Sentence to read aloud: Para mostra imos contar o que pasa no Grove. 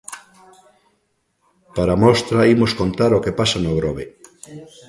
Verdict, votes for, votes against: rejected, 0, 2